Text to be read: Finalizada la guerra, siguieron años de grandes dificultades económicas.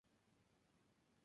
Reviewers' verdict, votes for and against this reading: rejected, 0, 4